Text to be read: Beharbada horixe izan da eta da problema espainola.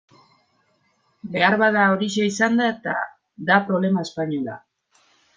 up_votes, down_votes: 2, 1